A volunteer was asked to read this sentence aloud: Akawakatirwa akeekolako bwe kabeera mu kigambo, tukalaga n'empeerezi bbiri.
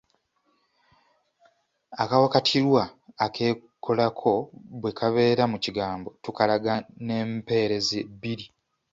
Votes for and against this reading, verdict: 1, 2, rejected